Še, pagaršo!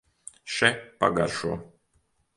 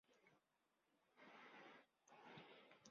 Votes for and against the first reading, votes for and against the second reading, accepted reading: 3, 0, 0, 2, first